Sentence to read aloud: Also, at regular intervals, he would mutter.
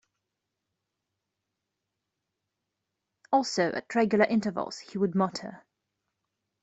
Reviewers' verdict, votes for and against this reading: accepted, 2, 1